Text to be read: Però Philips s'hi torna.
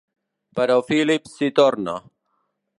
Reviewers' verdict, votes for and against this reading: rejected, 1, 2